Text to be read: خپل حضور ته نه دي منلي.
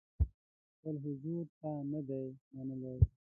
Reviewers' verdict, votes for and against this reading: rejected, 1, 2